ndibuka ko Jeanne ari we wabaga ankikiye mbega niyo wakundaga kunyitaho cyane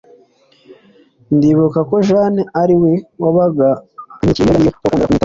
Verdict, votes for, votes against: accepted, 2, 0